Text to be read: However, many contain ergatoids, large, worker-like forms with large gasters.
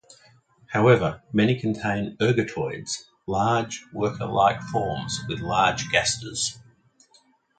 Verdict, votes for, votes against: accepted, 2, 0